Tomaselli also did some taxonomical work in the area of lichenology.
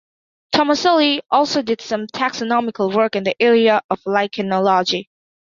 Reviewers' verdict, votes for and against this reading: accepted, 2, 0